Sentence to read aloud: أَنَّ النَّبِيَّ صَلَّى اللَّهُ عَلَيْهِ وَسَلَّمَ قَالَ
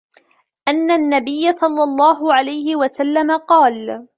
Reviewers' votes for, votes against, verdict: 3, 0, accepted